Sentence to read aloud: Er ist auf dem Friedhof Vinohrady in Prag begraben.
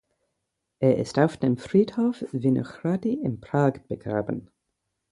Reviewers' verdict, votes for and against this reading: accepted, 4, 0